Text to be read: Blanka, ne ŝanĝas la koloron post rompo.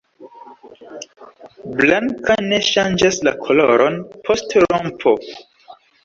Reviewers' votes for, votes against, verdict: 1, 2, rejected